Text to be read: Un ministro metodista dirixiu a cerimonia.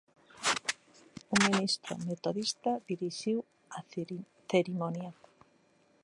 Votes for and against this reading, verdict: 0, 2, rejected